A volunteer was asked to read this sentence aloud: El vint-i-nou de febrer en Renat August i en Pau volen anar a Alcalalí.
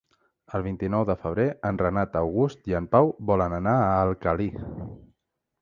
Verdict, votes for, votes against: rejected, 0, 2